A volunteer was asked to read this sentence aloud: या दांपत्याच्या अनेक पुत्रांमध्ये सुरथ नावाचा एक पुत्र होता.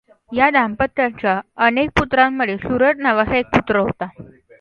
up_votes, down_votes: 2, 0